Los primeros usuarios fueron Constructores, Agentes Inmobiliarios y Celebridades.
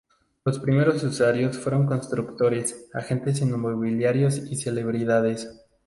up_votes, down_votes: 0, 2